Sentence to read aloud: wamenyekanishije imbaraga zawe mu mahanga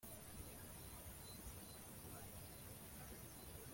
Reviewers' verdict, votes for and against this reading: rejected, 0, 2